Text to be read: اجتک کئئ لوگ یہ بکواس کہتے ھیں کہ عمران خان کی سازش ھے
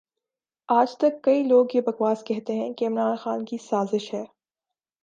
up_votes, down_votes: 4, 1